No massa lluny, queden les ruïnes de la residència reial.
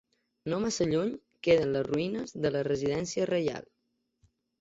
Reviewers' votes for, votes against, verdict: 2, 0, accepted